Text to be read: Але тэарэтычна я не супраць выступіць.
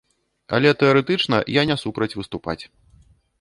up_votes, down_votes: 1, 2